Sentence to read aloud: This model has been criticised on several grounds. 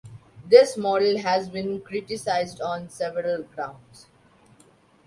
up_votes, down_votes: 2, 1